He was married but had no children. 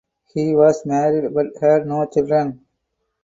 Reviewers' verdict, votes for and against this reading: accepted, 4, 0